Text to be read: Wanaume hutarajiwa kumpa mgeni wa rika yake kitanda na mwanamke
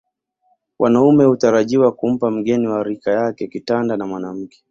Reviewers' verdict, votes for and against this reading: accepted, 2, 0